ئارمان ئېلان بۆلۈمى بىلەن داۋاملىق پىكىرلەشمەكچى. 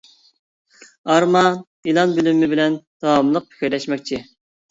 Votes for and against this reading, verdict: 0, 2, rejected